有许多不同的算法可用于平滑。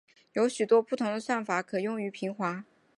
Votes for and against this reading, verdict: 5, 0, accepted